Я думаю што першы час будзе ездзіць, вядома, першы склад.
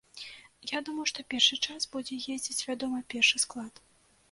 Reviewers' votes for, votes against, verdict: 2, 0, accepted